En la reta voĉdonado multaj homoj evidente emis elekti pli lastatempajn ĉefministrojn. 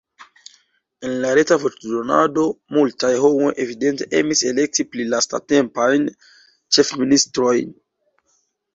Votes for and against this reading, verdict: 0, 2, rejected